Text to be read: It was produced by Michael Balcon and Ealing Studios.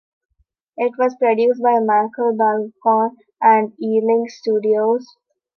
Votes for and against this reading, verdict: 2, 1, accepted